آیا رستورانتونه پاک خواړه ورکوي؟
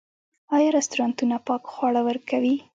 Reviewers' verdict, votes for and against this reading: accepted, 2, 0